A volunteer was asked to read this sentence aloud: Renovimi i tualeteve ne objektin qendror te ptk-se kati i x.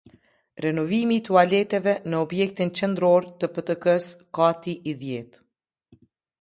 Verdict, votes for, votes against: rejected, 1, 2